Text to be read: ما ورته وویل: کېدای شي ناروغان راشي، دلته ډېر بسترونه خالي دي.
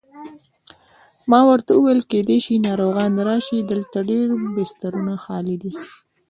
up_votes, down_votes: 2, 1